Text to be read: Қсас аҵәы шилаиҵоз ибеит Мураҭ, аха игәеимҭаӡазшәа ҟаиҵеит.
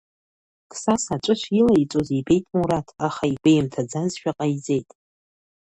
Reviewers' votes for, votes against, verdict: 3, 0, accepted